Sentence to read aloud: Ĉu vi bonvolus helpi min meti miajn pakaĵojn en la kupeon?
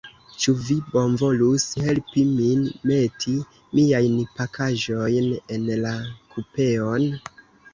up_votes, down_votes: 1, 2